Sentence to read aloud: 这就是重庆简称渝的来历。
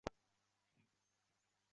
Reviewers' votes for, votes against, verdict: 2, 3, rejected